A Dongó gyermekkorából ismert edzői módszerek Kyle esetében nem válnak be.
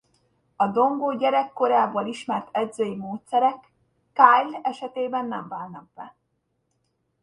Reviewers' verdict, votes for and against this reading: rejected, 0, 2